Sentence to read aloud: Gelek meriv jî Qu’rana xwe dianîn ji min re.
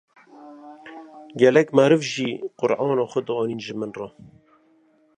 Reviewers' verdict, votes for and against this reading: rejected, 0, 2